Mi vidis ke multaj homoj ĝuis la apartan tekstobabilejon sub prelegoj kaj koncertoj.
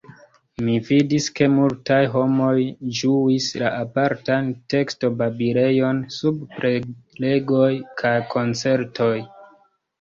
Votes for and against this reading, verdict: 0, 2, rejected